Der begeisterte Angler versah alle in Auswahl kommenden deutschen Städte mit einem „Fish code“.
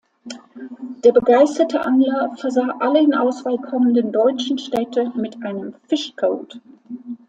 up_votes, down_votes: 2, 1